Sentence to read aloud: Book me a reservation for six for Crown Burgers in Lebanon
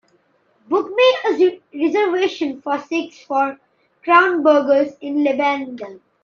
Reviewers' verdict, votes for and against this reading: rejected, 1, 2